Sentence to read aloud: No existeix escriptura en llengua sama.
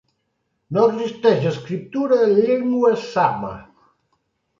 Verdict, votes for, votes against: rejected, 1, 2